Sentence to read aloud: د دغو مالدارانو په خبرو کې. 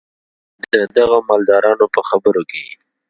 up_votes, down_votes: 2, 0